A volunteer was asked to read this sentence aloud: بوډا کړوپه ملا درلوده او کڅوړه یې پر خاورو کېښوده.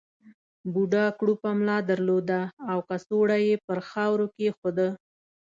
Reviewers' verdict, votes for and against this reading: accepted, 2, 1